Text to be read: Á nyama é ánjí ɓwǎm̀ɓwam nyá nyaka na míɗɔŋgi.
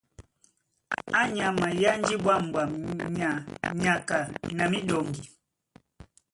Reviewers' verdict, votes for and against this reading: rejected, 1, 2